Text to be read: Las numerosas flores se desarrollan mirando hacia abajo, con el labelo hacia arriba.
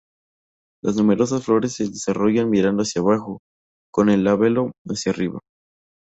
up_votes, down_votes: 2, 0